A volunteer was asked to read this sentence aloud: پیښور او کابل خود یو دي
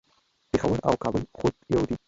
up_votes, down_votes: 1, 2